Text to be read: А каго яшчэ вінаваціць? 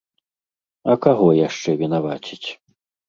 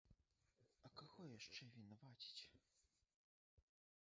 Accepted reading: first